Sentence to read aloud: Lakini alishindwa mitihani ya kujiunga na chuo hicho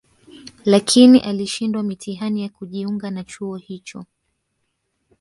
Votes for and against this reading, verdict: 0, 2, rejected